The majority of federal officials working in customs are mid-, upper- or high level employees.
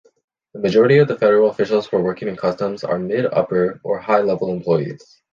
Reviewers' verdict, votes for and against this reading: rejected, 0, 2